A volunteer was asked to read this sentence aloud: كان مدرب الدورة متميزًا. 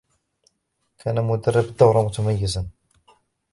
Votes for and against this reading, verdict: 0, 2, rejected